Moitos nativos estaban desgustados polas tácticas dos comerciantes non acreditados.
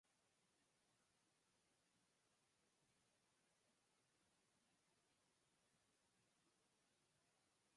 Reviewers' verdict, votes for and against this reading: rejected, 0, 4